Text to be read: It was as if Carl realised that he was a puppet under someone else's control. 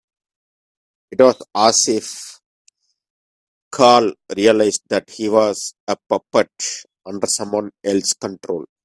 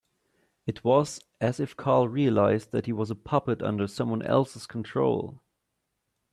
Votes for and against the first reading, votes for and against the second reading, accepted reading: 1, 3, 2, 0, second